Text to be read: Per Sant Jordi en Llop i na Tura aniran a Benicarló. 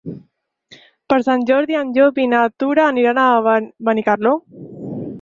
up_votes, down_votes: 2, 4